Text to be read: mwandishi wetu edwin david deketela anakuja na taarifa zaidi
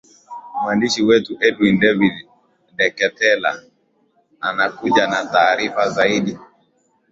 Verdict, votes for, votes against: accepted, 11, 2